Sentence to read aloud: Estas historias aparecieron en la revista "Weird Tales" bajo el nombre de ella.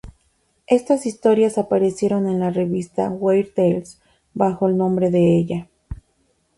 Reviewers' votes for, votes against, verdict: 2, 0, accepted